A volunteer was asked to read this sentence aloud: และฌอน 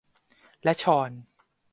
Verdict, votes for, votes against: accepted, 2, 0